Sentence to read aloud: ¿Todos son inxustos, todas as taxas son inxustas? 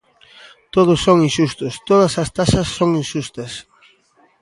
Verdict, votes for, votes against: accepted, 2, 0